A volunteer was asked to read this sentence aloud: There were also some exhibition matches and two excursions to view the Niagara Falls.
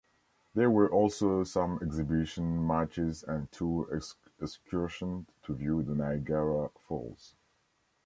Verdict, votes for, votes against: rejected, 1, 2